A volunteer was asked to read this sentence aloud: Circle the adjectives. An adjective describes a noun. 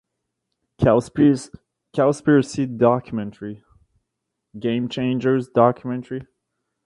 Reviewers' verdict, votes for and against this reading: rejected, 0, 2